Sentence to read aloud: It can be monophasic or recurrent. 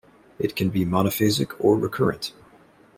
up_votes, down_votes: 2, 0